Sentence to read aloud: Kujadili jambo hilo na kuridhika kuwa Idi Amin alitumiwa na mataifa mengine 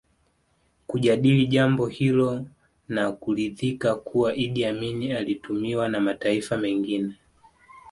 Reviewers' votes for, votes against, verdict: 1, 2, rejected